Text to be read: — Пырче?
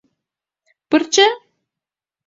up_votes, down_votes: 2, 0